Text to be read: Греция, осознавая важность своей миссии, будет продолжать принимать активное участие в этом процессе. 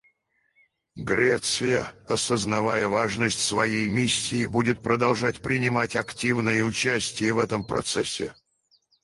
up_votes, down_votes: 0, 4